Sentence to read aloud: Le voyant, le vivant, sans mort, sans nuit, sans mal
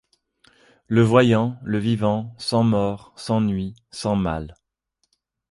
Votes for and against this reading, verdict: 2, 0, accepted